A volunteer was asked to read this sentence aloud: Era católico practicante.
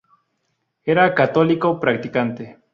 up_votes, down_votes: 2, 0